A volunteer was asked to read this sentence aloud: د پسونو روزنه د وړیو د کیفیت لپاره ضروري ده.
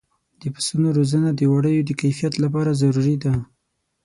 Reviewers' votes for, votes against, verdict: 6, 0, accepted